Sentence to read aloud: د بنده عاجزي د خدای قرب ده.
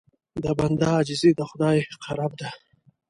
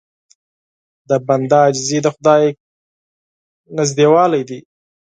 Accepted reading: first